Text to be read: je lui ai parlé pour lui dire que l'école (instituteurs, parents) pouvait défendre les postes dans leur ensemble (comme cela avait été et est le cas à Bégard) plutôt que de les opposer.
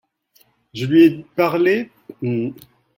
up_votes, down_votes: 0, 2